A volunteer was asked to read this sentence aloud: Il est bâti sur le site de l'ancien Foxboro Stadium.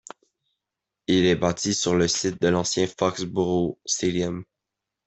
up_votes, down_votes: 2, 0